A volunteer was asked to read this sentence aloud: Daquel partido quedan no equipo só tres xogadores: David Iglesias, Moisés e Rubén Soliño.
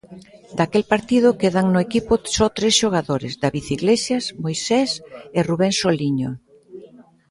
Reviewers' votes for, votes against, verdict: 0, 2, rejected